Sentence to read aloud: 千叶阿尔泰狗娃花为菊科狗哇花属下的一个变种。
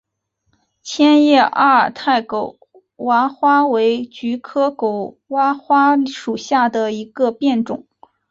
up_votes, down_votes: 2, 1